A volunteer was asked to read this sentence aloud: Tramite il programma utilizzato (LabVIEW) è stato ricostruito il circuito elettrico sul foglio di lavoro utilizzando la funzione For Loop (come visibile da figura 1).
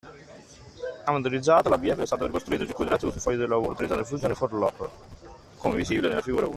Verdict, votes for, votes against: rejected, 0, 2